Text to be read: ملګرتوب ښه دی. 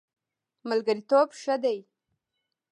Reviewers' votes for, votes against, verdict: 0, 2, rejected